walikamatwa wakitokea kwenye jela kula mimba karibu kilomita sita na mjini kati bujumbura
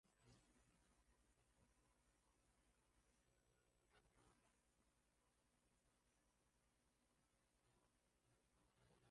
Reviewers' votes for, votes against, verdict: 0, 2, rejected